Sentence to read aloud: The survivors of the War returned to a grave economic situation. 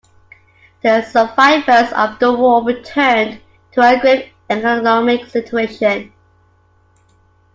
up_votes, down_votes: 1, 2